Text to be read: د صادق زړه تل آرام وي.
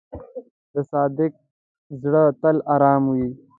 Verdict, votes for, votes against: rejected, 0, 2